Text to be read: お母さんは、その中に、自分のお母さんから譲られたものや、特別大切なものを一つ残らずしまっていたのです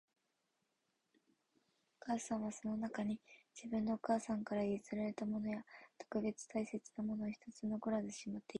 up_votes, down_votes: 1, 2